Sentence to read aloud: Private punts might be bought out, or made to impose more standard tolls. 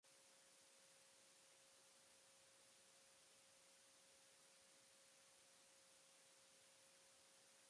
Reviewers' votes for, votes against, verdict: 0, 2, rejected